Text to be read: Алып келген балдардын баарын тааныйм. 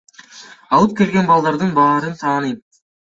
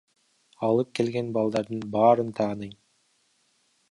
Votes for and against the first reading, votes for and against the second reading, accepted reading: 2, 1, 1, 2, first